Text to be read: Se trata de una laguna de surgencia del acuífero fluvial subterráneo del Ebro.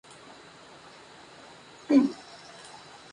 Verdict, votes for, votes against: rejected, 0, 8